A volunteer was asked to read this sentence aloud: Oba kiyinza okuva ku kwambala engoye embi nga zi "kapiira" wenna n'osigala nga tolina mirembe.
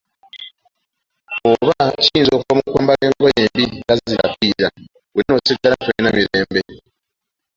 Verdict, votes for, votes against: accepted, 2, 1